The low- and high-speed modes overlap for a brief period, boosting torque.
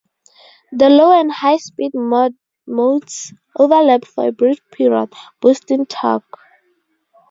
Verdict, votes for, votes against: rejected, 2, 2